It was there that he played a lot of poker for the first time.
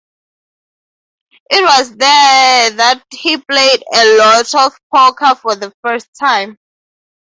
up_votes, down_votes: 0, 2